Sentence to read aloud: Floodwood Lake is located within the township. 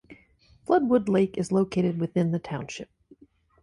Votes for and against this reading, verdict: 2, 0, accepted